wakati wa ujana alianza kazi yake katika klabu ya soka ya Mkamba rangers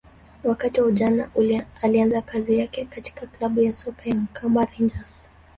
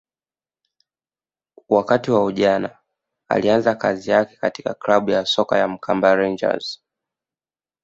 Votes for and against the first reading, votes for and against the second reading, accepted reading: 1, 2, 2, 0, second